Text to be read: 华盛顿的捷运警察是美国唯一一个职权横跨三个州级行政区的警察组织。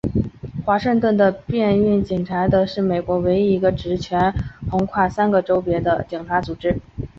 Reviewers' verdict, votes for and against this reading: rejected, 1, 4